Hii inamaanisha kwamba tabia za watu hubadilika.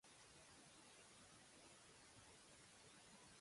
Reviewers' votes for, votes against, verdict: 1, 2, rejected